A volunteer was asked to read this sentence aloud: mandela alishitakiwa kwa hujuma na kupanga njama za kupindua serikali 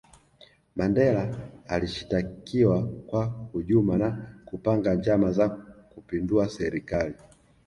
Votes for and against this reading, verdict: 2, 1, accepted